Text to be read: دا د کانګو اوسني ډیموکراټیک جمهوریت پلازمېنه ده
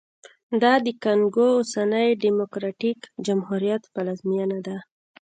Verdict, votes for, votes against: accepted, 2, 0